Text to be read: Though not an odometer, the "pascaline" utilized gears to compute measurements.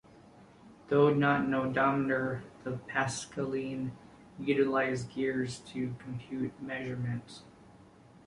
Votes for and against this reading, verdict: 2, 0, accepted